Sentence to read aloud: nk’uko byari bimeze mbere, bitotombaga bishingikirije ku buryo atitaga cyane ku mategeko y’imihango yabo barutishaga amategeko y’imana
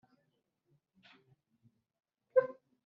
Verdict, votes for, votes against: rejected, 1, 2